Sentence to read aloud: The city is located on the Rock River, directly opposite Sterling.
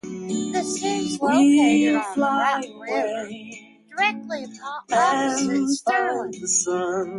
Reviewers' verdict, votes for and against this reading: rejected, 0, 2